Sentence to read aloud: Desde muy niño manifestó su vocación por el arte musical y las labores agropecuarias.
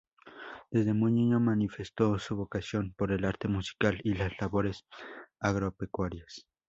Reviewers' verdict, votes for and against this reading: accepted, 2, 0